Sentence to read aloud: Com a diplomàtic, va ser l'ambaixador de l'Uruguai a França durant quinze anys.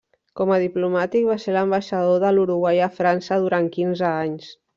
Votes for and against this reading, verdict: 3, 1, accepted